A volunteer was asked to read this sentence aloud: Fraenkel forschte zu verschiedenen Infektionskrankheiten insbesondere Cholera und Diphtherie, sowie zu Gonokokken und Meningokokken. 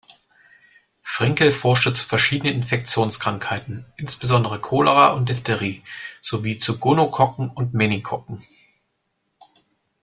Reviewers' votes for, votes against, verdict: 0, 2, rejected